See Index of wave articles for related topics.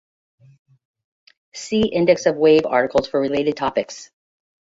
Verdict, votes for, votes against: rejected, 1, 2